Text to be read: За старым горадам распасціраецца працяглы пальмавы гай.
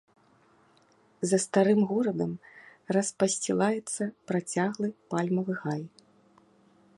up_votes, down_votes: 1, 2